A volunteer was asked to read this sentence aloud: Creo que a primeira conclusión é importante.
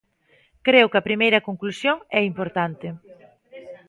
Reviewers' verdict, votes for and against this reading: accepted, 2, 0